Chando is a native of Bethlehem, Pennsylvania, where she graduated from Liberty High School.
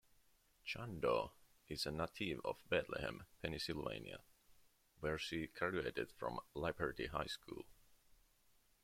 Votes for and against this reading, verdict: 1, 2, rejected